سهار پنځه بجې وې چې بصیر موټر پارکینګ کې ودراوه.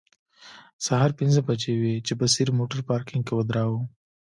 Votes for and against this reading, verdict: 1, 2, rejected